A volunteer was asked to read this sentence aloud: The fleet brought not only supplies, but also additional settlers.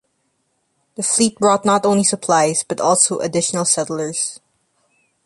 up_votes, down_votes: 2, 0